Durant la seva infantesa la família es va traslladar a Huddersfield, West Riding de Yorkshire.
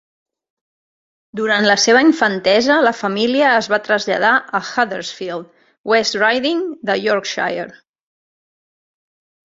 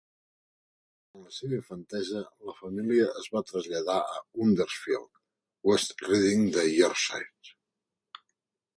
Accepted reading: first